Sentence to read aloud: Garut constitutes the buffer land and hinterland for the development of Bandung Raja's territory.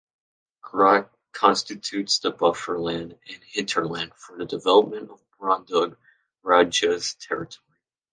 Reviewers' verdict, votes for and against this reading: rejected, 0, 3